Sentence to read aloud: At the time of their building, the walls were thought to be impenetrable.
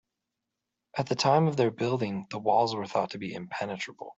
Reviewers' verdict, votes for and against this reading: accepted, 4, 0